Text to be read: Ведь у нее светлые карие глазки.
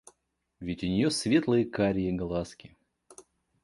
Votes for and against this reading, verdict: 2, 0, accepted